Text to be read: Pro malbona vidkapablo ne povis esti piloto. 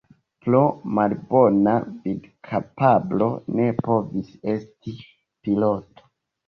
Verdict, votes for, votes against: accepted, 2, 1